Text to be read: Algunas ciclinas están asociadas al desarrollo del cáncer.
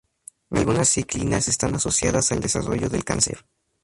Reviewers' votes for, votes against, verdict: 0, 2, rejected